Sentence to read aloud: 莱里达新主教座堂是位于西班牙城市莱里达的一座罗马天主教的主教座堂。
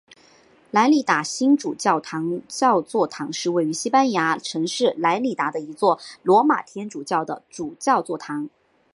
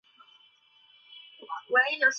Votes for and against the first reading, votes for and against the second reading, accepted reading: 1, 2, 2, 1, second